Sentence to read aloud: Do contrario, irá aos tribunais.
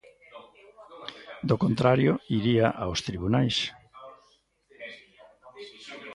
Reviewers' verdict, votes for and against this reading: rejected, 0, 2